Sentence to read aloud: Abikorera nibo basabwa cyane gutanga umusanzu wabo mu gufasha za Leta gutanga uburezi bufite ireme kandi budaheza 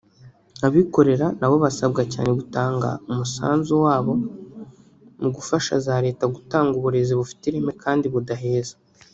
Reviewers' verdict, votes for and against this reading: rejected, 0, 2